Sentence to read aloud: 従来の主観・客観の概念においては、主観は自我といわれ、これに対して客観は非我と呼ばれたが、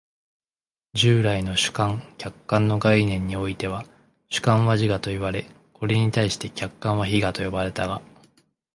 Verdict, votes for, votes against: accepted, 2, 0